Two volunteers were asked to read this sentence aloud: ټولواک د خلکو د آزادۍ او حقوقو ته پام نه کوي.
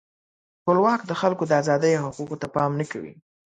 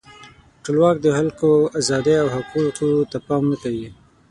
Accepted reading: first